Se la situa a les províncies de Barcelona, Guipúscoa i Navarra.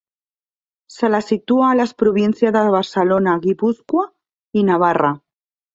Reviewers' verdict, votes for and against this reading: rejected, 0, 2